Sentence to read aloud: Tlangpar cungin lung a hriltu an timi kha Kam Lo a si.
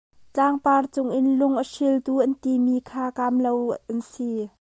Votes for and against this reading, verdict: 1, 2, rejected